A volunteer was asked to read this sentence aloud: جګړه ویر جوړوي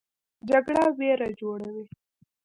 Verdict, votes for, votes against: rejected, 0, 2